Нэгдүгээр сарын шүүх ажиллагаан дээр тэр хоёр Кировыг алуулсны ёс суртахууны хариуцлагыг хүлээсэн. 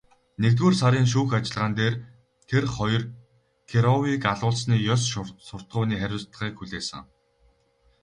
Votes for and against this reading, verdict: 0, 2, rejected